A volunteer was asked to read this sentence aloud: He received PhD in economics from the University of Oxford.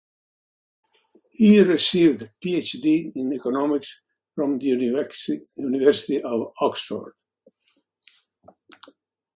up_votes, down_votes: 0, 2